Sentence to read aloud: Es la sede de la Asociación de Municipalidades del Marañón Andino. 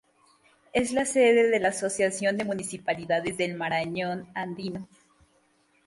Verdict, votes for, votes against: accepted, 2, 0